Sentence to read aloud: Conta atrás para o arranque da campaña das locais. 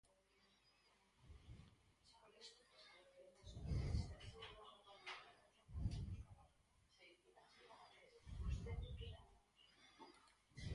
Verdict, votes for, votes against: rejected, 0, 4